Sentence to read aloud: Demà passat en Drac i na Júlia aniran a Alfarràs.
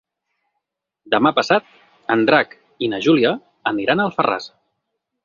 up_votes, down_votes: 6, 0